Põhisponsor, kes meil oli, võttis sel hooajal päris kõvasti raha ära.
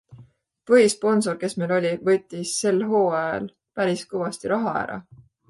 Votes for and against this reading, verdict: 2, 0, accepted